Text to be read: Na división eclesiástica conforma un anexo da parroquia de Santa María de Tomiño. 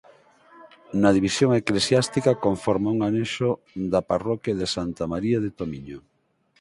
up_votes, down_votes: 4, 0